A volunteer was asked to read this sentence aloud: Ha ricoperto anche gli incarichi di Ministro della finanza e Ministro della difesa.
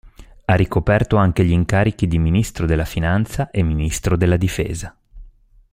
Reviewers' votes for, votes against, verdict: 2, 0, accepted